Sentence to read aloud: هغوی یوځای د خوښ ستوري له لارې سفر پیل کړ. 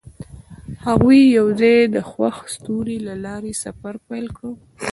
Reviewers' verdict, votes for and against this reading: rejected, 0, 2